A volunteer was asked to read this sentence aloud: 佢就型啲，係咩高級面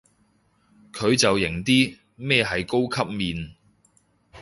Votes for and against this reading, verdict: 1, 3, rejected